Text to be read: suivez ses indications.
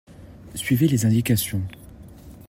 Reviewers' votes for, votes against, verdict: 1, 2, rejected